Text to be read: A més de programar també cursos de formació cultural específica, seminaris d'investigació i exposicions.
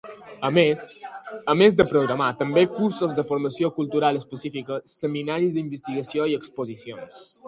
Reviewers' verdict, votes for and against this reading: rejected, 0, 3